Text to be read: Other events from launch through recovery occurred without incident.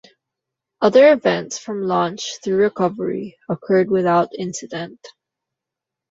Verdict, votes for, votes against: accepted, 2, 0